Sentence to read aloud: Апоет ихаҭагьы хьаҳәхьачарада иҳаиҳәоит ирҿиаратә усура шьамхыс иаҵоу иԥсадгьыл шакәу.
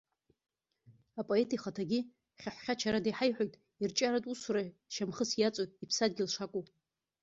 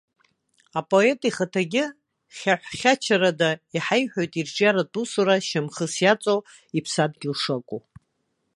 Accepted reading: second